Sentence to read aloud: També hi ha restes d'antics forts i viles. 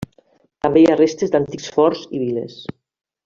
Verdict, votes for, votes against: accepted, 3, 0